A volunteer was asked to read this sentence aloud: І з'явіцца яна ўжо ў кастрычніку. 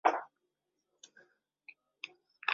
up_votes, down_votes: 0, 2